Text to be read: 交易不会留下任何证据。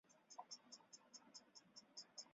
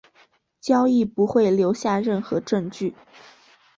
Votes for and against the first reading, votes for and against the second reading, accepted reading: 0, 2, 3, 0, second